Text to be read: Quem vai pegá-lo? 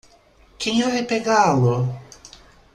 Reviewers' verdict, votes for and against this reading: rejected, 1, 2